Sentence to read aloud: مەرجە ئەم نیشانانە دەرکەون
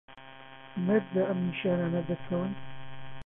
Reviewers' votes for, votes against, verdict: 0, 2, rejected